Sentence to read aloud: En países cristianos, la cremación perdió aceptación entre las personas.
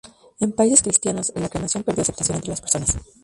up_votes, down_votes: 2, 2